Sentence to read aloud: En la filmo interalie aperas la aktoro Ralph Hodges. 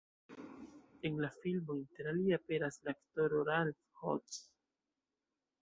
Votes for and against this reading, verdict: 2, 0, accepted